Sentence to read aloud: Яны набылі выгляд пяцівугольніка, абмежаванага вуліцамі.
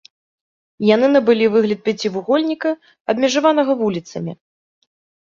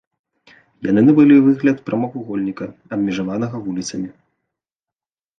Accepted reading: first